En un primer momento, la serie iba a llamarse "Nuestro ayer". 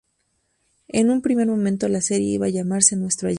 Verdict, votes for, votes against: rejected, 0, 2